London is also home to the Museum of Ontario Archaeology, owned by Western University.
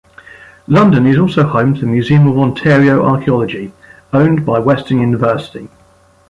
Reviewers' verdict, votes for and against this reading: rejected, 1, 2